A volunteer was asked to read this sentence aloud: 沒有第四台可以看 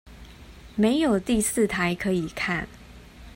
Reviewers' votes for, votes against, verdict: 2, 0, accepted